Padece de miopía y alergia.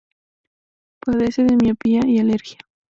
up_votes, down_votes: 2, 2